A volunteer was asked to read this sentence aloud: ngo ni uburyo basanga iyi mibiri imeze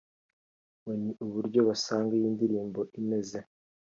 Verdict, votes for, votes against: rejected, 1, 2